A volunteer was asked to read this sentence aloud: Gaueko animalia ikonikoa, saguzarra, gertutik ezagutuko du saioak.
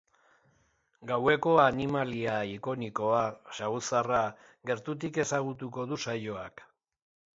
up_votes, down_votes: 2, 0